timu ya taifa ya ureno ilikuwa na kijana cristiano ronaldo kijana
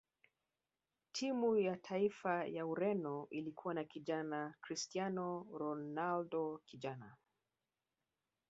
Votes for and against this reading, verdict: 2, 0, accepted